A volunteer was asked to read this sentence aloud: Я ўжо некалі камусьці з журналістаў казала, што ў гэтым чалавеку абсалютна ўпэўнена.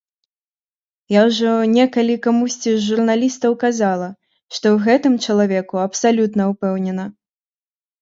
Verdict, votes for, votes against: accepted, 2, 0